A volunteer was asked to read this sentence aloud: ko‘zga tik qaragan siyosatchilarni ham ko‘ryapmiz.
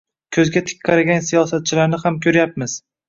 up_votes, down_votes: 1, 2